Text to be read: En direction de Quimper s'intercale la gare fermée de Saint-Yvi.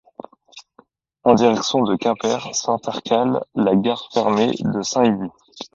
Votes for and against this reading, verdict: 2, 0, accepted